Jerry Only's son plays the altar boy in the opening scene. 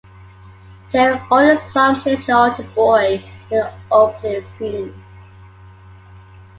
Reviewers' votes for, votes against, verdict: 2, 1, accepted